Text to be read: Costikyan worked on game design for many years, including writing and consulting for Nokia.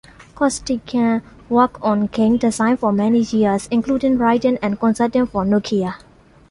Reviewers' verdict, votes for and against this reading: accepted, 2, 0